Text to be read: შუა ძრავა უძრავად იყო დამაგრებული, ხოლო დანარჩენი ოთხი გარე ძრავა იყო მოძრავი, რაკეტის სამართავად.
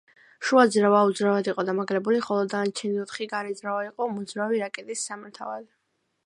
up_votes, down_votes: 2, 0